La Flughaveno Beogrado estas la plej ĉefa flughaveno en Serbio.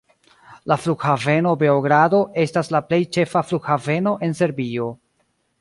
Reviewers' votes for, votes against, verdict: 2, 0, accepted